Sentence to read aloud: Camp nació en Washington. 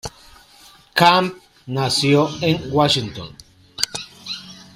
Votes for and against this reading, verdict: 2, 0, accepted